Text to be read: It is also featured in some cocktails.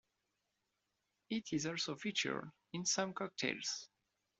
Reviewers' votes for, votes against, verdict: 2, 0, accepted